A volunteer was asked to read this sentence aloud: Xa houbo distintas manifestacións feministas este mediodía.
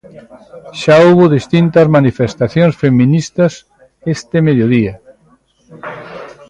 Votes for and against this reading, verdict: 2, 1, accepted